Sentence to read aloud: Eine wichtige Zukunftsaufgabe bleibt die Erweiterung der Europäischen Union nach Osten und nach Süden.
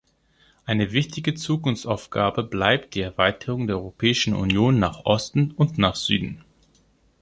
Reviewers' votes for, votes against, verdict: 2, 0, accepted